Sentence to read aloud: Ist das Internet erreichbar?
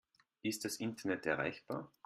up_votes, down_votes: 2, 0